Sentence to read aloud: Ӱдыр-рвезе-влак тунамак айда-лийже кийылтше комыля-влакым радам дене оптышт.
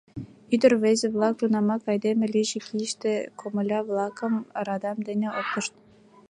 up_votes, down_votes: 0, 2